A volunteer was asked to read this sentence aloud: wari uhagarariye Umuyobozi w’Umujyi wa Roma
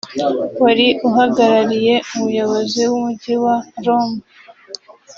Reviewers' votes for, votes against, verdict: 0, 2, rejected